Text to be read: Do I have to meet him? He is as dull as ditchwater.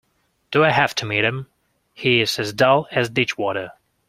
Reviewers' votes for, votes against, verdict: 2, 0, accepted